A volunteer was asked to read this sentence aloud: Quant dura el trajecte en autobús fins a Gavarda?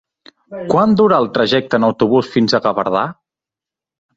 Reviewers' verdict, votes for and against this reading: rejected, 2, 4